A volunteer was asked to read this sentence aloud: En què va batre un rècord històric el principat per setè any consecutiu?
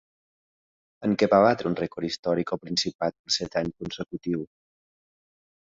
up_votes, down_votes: 0, 2